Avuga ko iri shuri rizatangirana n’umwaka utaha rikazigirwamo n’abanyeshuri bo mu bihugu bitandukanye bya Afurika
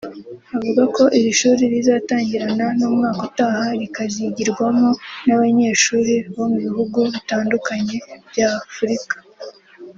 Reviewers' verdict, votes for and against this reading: accepted, 2, 0